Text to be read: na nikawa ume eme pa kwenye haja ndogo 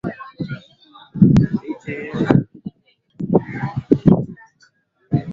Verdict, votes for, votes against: rejected, 0, 2